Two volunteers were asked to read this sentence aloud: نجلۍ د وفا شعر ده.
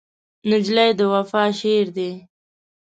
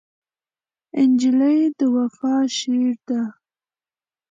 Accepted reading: second